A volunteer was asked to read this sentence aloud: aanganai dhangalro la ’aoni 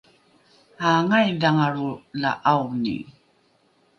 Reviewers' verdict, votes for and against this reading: rejected, 1, 2